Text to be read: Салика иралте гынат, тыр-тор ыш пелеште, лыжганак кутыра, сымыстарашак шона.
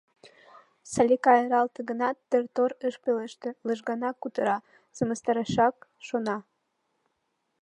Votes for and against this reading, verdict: 2, 0, accepted